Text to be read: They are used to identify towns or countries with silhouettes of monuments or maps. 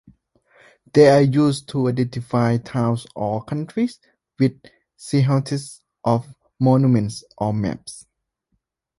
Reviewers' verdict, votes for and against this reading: accepted, 2, 0